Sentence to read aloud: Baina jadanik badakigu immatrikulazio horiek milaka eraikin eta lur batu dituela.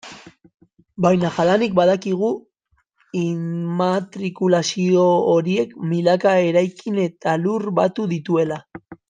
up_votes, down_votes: 0, 3